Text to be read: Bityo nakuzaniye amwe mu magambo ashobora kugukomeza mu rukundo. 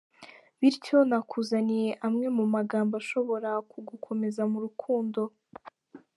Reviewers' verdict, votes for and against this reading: accepted, 2, 0